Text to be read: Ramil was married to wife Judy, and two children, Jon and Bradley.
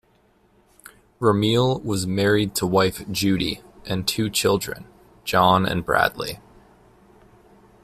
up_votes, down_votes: 2, 0